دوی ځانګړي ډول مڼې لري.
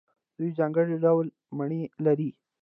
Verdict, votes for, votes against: rejected, 1, 2